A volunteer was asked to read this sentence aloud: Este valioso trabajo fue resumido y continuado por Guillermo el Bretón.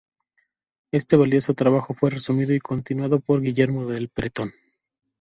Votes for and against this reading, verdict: 3, 0, accepted